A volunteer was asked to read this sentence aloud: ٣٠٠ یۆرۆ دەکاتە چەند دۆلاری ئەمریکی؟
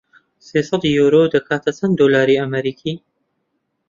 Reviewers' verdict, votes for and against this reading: rejected, 0, 2